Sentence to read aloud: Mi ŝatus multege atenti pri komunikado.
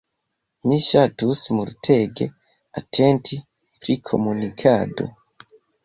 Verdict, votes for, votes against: accepted, 2, 0